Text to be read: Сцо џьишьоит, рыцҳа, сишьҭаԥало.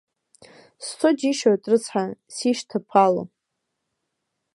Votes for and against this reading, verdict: 0, 2, rejected